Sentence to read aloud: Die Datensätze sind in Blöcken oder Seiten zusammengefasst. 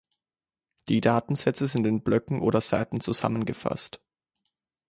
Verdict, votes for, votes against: accepted, 2, 0